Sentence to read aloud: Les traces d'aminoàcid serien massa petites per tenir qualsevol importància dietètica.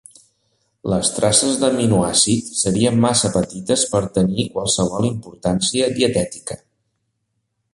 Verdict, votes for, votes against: accepted, 2, 0